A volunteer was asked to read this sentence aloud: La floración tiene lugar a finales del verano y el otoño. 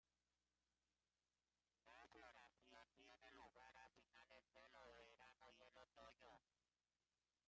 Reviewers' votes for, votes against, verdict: 0, 2, rejected